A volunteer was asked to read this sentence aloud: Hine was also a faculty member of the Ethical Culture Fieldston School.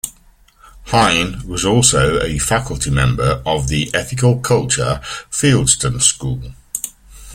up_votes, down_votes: 2, 0